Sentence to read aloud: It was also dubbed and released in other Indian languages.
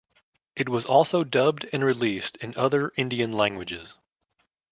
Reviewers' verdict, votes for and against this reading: accepted, 2, 0